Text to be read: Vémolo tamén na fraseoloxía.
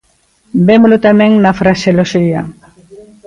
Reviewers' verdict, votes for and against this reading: accepted, 2, 1